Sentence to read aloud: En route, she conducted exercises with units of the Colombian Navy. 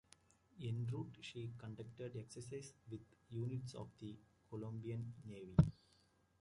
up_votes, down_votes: 0, 2